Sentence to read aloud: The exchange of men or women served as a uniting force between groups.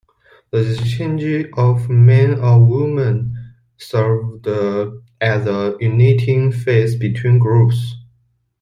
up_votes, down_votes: 0, 2